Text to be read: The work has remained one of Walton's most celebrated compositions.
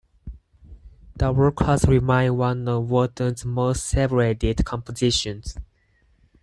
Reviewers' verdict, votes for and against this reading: rejected, 0, 4